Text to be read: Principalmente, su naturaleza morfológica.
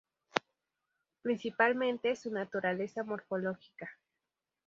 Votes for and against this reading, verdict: 2, 2, rejected